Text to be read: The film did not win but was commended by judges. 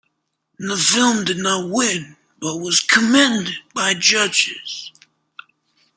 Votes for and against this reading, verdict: 1, 2, rejected